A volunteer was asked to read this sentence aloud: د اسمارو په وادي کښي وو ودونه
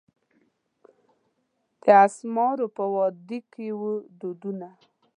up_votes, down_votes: 1, 2